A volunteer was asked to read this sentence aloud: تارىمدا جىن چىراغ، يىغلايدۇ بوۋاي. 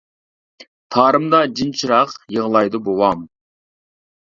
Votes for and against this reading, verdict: 1, 2, rejected